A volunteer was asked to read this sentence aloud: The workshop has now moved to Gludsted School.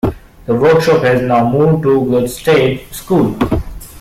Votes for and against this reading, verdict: 2, 1, accepted